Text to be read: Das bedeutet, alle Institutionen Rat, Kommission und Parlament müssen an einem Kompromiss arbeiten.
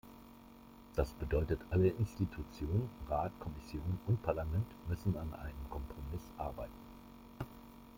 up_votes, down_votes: 3, 0